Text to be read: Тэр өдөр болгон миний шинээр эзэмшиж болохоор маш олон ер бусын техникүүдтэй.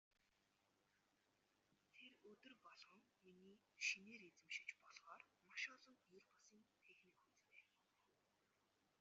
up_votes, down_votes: 0, 2